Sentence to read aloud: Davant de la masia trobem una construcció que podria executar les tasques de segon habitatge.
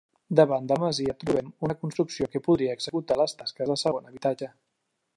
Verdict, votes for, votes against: accepted, 2, 1